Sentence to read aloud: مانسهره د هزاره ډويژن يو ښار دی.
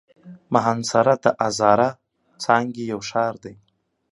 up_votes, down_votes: 1, 2